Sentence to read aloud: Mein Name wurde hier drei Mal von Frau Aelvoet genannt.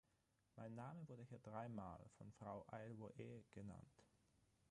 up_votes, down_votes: 3, 6